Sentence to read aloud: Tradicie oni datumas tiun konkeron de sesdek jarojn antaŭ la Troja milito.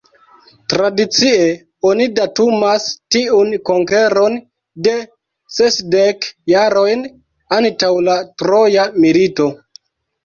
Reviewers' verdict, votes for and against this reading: accepted, 2, 0